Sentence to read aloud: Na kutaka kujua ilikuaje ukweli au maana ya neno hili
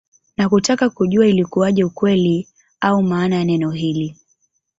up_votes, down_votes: 2, 1